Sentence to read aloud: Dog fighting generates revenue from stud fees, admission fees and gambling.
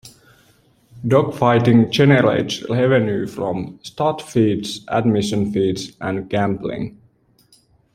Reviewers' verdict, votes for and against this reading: rejected, 1, 2